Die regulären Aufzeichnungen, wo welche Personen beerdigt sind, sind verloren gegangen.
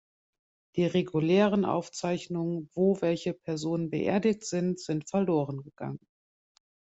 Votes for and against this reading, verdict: 2, 0, accepted